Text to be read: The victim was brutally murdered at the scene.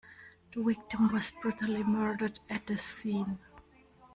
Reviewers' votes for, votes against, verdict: 0, 2, rejected